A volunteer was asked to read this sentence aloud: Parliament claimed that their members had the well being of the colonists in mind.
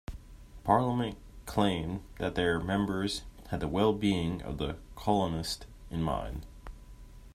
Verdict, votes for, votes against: rejected, 1, 2